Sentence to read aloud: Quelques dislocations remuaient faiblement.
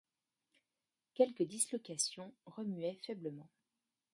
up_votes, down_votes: 1, 2